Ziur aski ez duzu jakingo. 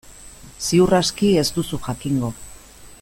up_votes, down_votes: 2, 0